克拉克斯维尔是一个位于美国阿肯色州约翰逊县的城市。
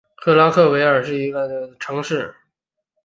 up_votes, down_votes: 1, 4